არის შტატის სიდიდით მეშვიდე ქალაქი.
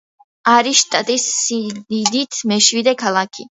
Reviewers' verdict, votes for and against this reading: rejected, 1, 2